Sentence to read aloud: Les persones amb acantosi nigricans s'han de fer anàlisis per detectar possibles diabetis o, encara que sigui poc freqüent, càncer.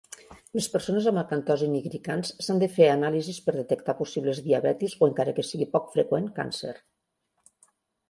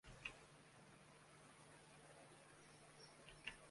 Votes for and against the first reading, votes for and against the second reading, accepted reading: 2, 0, 0, 2, first